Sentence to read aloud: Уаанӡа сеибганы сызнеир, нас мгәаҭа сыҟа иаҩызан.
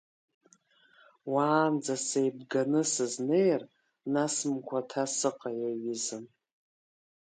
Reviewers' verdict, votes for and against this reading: accepted, 2, 1